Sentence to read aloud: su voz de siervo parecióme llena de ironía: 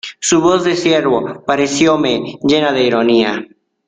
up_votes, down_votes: 2, 0